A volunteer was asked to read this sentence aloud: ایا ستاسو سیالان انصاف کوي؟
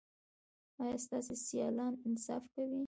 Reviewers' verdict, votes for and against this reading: rejected, 1, 2